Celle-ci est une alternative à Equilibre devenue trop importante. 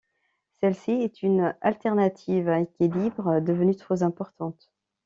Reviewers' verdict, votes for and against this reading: rejected, 0, 2